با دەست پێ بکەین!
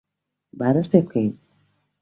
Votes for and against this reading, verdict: 2, 0, accepted